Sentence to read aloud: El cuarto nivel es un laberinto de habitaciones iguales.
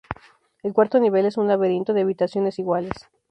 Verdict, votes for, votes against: accepted, 2, 0